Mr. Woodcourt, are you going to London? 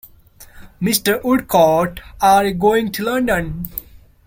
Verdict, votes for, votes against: rejected, 1, 2